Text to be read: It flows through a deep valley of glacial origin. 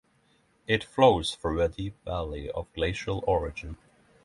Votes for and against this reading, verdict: 3, 0, accepted